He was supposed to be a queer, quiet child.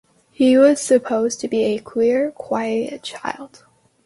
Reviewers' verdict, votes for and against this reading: accepted, 2, 0